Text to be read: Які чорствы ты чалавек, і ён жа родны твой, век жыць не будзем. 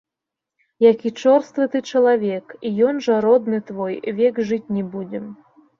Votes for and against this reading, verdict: 2, 1, accepted